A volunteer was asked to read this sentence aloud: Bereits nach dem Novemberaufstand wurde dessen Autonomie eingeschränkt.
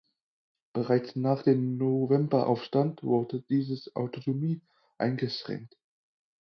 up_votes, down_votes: 0, 4